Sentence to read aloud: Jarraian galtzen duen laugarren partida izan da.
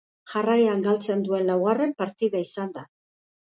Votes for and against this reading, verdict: 2, 0, accepted